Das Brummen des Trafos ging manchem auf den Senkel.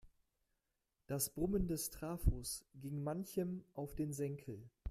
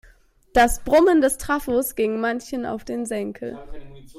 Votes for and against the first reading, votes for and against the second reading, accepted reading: 2, 1, 1, 2, first